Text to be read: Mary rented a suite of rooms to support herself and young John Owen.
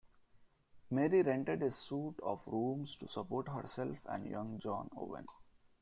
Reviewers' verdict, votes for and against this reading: accepted, 2, 0